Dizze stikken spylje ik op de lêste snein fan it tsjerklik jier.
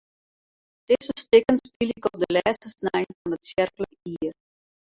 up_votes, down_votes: 0, 4